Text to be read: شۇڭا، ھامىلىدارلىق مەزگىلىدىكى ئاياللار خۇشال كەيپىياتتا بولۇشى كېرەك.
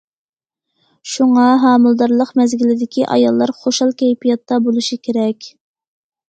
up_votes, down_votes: 2, 0